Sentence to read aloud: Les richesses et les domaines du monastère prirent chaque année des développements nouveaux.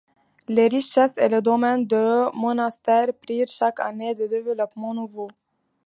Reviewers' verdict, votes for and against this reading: rejected, 1, 2